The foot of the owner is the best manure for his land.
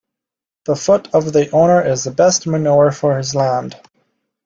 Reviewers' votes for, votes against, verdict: 2, 0, accepted